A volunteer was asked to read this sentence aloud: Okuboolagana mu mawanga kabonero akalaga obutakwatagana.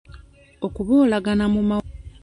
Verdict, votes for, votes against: rejected, 0, 2